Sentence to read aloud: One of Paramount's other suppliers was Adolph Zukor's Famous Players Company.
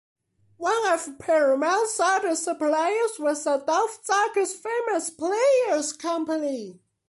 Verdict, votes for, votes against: accepted, 2, 0